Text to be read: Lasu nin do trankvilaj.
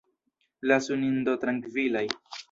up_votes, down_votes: 2, 0